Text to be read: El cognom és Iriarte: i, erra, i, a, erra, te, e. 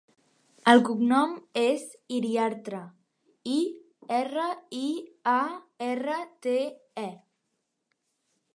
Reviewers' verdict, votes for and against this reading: rejected, 0, 3